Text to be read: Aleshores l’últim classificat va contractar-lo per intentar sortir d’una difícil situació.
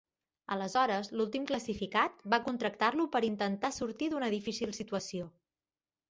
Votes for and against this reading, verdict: 2, 0, accepted